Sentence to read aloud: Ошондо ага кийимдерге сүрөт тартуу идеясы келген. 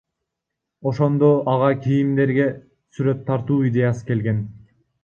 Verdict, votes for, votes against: rejected, 0, 2